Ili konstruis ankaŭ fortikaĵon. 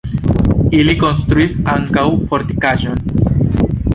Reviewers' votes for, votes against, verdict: 2, 1, accepted